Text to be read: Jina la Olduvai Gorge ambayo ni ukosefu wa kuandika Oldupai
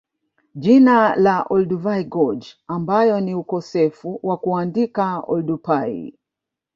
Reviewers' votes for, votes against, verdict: 0, 2, rejected